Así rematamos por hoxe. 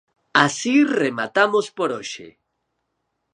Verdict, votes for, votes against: accepted, 4, 0